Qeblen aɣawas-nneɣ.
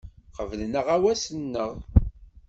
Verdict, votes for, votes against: accepted, 2, 0